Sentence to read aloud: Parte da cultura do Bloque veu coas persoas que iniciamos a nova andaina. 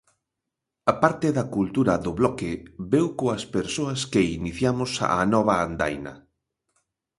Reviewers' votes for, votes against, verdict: 0, 2, rejected